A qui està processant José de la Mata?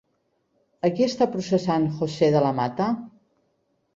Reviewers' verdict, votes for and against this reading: rejected, 0, 2